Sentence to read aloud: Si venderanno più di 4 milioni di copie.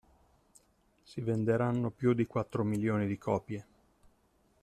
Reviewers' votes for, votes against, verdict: 0, 2, rejected